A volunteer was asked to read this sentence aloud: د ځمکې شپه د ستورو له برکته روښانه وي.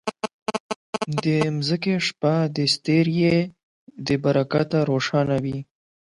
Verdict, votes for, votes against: rejected, 8, 12